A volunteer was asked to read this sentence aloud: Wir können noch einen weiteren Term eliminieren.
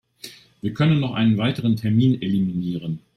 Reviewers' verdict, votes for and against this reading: rejected, 0, 2